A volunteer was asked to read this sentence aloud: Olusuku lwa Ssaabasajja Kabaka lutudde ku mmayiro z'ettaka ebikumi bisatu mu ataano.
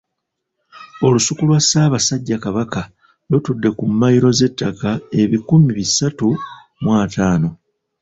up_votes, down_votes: 2, 0